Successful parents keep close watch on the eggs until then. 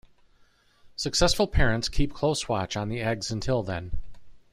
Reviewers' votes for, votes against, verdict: 2, 1, accepted